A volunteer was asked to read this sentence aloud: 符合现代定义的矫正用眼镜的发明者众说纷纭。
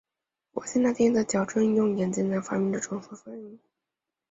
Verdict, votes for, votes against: rejected, 0, 3